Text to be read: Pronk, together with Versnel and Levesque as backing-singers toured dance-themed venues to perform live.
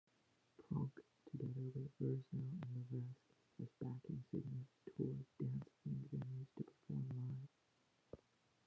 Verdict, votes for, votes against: rejected, 1, 2